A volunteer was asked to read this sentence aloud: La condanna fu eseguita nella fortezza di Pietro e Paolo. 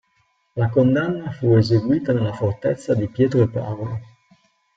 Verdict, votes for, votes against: accepted, 3, 0